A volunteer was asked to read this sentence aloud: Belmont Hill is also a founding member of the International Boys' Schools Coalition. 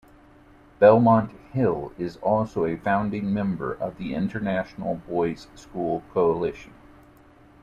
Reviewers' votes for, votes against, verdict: 0, 2, rejected